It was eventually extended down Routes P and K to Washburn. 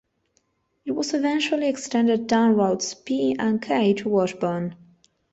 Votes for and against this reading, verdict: 2, 0, accepted